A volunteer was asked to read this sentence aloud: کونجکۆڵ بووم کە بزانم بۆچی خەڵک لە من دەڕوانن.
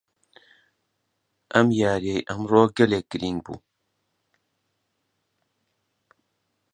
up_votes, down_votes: 0, 2